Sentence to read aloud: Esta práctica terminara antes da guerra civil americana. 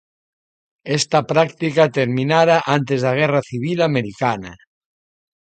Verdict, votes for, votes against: accepted, 2, 0